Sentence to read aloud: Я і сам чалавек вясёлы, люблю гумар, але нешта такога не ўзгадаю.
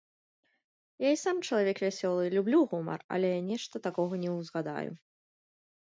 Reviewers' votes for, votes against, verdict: 2, 0, accepted